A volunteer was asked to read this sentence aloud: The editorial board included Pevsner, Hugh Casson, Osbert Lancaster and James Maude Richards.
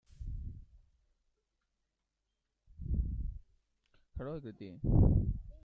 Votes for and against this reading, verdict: 0, 2, rejected